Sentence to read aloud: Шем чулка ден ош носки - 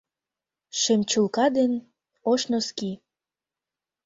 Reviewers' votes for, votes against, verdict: 2, 0, accepted